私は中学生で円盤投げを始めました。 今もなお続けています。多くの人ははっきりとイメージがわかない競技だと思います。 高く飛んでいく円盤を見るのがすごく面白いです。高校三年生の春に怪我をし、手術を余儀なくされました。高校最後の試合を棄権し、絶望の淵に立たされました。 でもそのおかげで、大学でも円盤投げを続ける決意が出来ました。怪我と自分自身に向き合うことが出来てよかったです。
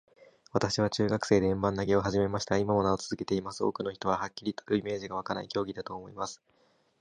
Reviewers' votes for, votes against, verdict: 0, 2, rejected